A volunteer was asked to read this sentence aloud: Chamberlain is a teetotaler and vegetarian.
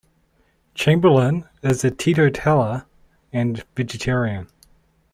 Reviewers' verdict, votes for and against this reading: rejected, 0, 2